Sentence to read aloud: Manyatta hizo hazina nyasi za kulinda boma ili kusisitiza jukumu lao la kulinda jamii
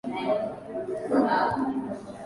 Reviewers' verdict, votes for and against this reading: rejected, 0, 2